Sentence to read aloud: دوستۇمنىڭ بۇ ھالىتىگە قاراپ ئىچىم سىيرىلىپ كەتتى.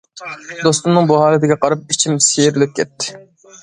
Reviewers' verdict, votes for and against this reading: accepted, 2, 0